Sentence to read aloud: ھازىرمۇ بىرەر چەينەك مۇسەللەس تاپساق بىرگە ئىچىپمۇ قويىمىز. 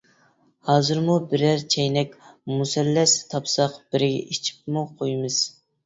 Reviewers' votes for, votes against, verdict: 3, 0, accepted